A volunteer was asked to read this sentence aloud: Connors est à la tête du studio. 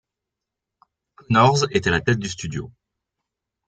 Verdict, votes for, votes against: rejected, 0, 2